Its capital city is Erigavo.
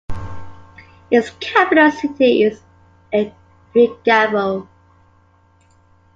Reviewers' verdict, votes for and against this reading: rejected, 1, 3